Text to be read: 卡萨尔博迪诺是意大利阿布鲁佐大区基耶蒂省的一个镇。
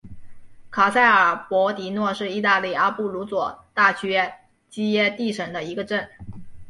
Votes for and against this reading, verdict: 1, 2, rejected